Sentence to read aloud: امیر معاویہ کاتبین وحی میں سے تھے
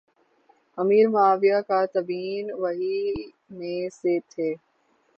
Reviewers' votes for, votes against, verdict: 3, 3, rejected